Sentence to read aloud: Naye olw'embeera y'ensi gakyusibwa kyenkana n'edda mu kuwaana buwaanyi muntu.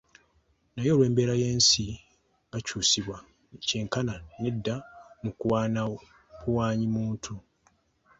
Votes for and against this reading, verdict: 0, 2, rejected